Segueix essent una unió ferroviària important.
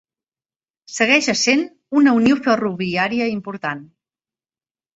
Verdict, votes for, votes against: accepted, 3, 0